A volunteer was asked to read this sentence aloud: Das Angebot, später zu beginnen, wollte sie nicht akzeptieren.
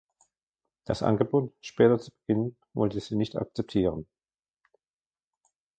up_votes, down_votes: 0, 2